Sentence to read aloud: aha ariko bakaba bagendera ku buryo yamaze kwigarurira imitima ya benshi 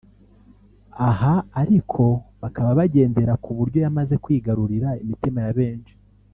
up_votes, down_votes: 1, 2